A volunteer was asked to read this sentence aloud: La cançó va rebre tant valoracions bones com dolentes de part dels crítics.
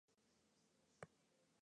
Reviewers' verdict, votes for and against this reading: rejected, 0, 2